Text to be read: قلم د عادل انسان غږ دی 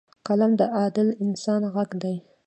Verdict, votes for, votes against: rejected, 1, 2